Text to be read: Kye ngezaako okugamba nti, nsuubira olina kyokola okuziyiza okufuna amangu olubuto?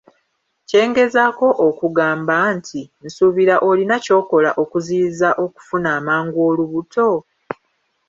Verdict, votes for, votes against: rejected, 0, 2